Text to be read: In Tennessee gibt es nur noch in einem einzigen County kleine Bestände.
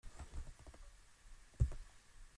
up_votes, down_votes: 0, 2